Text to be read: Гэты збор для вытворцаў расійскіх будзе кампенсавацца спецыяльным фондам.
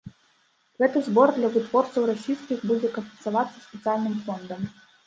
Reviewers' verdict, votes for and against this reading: rejected, 1, 2